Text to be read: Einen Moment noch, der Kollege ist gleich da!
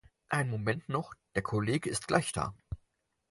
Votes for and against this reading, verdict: 0, 4, rejected